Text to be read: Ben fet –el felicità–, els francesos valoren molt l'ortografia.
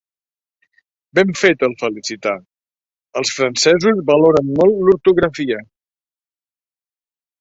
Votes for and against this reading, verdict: 1, 2, rejected